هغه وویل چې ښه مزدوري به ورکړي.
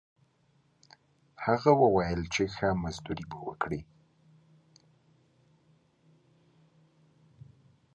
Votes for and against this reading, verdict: 1, 2, rejected